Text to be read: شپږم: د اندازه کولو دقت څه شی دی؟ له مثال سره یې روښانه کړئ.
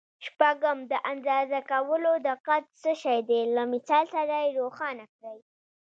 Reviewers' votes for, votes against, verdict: 2, 1, accepted